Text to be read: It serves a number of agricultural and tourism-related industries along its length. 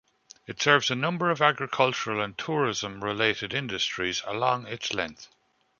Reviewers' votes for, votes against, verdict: 2, 0, accepted